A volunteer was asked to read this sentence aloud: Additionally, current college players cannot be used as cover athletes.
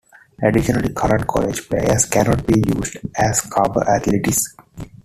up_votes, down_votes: 1, 2